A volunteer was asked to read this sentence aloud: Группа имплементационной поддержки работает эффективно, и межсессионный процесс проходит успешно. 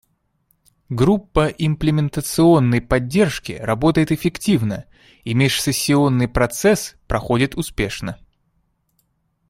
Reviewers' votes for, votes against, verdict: 2, 0, accepted